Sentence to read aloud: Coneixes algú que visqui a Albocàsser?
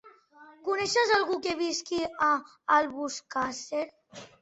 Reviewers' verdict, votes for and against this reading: rejected, 1, 2